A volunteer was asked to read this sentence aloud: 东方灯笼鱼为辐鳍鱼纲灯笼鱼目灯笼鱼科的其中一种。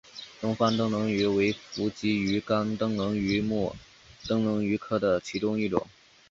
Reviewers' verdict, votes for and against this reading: accepted, 5, 1